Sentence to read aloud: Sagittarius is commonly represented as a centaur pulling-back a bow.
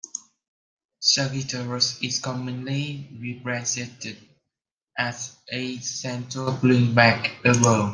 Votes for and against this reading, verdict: 0, 2, rejected